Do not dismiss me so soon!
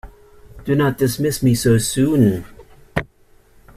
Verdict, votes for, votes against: accepted, 2, 0